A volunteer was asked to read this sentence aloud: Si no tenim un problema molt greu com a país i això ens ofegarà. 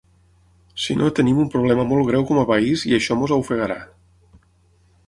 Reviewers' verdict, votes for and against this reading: rejected, 3, 9